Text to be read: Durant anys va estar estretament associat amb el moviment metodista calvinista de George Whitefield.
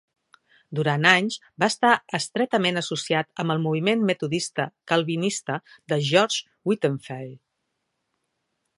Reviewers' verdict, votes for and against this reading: rejected, 1, 2